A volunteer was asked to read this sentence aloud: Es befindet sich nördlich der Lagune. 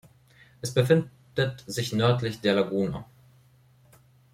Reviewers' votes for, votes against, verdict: 1, 3, rejected